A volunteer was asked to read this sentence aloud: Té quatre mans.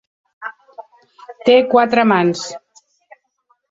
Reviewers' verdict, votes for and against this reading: accepted, 2, 0